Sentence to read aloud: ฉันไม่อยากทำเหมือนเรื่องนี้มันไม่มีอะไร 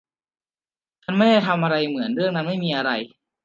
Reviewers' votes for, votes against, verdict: 0, 2, rejected